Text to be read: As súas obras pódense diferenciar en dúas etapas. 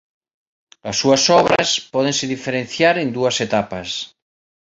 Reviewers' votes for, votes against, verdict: 1, 2, rejected